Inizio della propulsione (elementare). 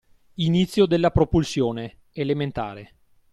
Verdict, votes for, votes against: accepted, 2, 0